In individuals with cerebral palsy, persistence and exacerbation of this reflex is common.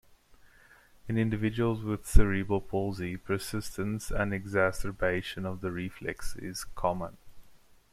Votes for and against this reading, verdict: 0, 2, rejected